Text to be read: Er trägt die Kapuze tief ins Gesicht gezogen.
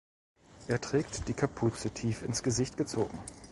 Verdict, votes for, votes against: rejected, 1, 2